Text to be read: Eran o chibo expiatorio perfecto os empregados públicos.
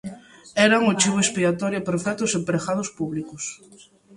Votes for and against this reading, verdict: 2, 0, accepted